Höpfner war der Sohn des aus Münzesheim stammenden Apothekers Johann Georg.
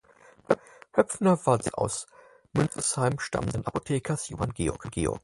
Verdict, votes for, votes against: rejected, 0, 4